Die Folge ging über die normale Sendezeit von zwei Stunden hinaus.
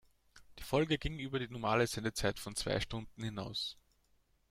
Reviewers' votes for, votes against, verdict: 2, 0, accepted